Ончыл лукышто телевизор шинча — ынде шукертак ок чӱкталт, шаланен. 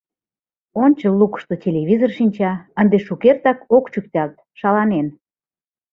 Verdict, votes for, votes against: accepted, 2, 0